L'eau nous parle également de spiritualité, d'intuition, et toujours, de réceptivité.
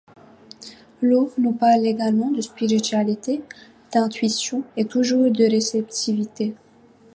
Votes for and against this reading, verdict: 2, 0, accepted